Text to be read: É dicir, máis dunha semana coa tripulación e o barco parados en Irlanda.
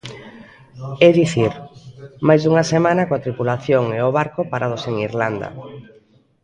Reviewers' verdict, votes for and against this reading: accepted, 2, 0